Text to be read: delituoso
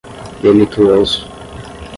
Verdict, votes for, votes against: rejected, 0, 5